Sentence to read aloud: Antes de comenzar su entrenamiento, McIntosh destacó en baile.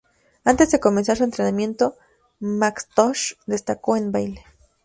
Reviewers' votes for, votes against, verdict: 2, 4, rejected